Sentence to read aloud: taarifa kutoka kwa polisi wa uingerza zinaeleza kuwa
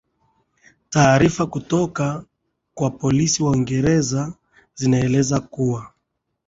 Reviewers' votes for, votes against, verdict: 2, 1, accepted